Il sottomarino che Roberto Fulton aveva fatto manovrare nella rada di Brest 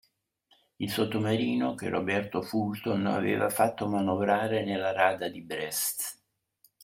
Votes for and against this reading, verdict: 2, 1, accepted